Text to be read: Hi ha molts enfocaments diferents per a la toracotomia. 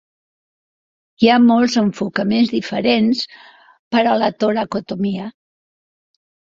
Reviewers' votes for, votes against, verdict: 2, 0, accepted